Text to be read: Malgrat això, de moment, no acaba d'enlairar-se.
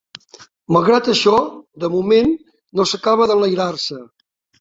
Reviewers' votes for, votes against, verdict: 0, 2, rejected